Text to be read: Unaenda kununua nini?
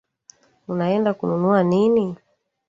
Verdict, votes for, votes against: rejected, 0, 2